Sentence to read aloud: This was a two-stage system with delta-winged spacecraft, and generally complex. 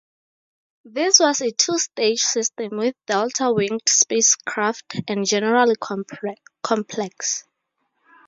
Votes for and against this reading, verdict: 0, 4, rejected